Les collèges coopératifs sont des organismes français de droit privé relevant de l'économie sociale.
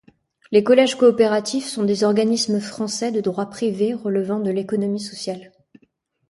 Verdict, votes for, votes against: accepted, 2, 0